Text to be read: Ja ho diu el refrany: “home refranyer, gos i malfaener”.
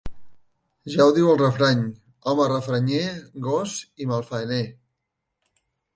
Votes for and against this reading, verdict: 2, 0, accepted